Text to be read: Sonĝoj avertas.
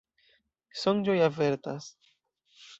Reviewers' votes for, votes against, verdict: 2, 0, accepted